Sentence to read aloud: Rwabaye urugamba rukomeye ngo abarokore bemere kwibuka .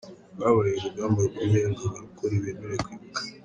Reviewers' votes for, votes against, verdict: 2, 1, accepted